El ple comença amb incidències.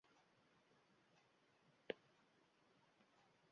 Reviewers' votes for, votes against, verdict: 0, 2, rejected